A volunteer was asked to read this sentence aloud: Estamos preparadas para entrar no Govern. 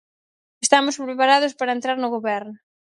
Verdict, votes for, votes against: rejected, 2, 2